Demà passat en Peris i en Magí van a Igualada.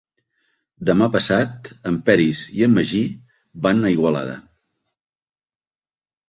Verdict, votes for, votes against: accepted, 3, 0